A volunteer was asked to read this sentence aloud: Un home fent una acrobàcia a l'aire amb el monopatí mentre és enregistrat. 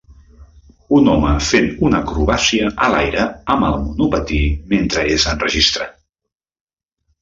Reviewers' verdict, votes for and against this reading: accepted, 2, 0